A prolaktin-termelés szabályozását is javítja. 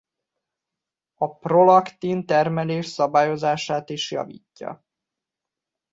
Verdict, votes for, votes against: accepted, 2, 0